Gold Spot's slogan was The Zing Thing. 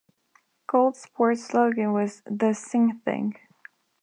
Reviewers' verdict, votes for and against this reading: rejected, 0, 2